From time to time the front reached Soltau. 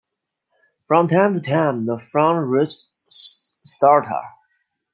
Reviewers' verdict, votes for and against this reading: rejected, 1, 2